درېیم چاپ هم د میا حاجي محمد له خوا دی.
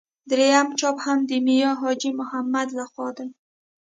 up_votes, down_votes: 2, 0